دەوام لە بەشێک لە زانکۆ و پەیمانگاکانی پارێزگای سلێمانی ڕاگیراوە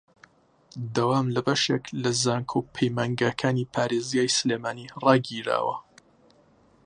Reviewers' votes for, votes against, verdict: 2, 0, accepted